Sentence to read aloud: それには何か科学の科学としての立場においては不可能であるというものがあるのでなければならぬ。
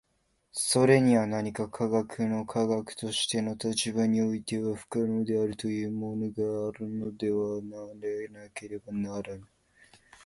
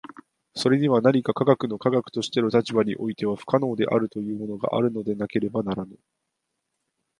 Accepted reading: second